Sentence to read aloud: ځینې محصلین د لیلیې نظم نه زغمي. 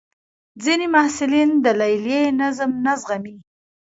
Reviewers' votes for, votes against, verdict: 1, 2, rejected